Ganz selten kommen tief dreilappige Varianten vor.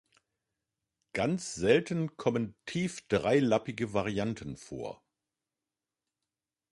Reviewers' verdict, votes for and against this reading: accepted, 3, 0